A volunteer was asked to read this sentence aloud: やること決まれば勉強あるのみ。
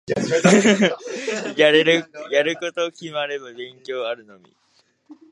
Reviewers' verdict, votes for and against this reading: rejected, 0, 3